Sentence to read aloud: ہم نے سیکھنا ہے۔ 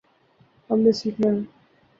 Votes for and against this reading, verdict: 0, 2, rejected